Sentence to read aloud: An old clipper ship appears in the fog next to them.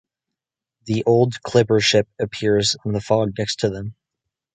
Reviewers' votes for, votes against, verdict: 0, 2, rejected